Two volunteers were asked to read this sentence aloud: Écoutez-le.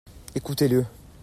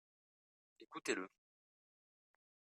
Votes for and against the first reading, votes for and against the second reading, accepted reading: 2, 0, 1, 2, first